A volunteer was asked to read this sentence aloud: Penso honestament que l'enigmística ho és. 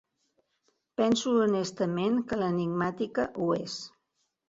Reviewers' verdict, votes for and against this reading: rejected, 0, 2